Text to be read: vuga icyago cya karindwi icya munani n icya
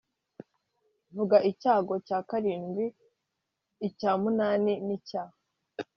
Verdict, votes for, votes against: accepted, 3, 0